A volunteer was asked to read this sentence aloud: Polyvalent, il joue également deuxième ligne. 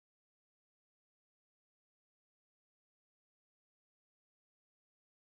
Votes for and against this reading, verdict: 0, 2, rejected